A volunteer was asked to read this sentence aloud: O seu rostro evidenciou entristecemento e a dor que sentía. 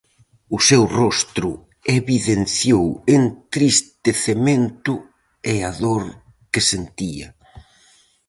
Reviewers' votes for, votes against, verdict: 4, 0, accepted